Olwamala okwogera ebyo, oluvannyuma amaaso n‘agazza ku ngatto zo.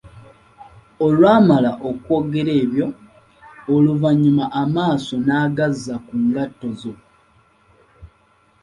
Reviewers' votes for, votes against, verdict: 2, 0, accepted